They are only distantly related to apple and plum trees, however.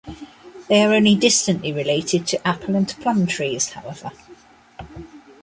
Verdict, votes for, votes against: accepted, 2, 0